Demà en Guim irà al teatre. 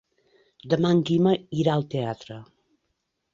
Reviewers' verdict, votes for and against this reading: rejected, 0, 3